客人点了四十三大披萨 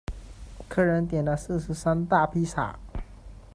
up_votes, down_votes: 2, 0